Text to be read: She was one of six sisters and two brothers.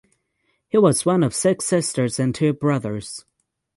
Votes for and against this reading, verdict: 0, 9, rejected